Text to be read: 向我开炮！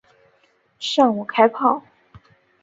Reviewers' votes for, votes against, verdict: 3, 0, accepted